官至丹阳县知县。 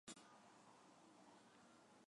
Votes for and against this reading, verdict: 1, 3, rejected